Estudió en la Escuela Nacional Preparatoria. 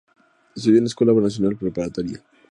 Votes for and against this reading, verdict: 4, 0, accepted